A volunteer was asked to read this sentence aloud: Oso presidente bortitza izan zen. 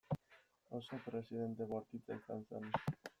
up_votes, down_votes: 1, 2